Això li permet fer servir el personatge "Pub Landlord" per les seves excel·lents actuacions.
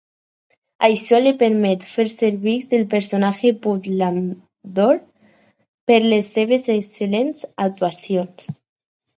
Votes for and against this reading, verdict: 2, 4, rejected